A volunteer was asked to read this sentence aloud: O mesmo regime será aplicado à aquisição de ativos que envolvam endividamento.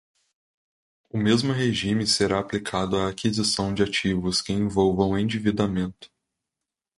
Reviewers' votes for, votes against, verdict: 2, 0, accepted